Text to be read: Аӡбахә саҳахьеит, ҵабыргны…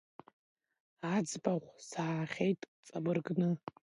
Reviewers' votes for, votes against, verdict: 2, 0, accepted